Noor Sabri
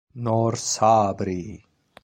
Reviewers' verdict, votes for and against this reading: accepted, 2, 1